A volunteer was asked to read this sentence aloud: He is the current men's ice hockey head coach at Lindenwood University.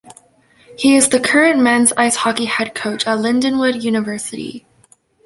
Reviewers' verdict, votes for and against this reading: accepted, 2, 0